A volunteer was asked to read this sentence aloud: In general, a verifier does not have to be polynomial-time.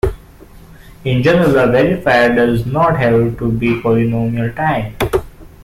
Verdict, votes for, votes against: accepted, 2, 1